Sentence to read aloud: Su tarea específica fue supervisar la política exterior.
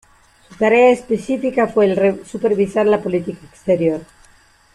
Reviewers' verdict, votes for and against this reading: rejected, 0, 2